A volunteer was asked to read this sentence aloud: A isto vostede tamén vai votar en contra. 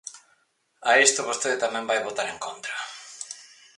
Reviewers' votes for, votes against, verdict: 0, 4, rejected